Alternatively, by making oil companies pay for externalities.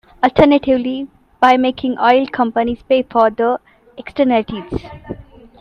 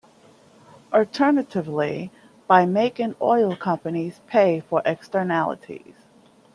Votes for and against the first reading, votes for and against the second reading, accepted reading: 0, 2, 2, 0, second